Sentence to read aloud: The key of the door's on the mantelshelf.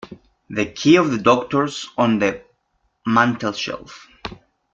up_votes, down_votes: 0, 2